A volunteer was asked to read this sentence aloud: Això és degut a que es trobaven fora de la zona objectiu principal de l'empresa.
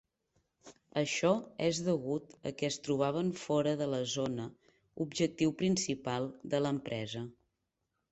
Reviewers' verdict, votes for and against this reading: accepted, 3, 0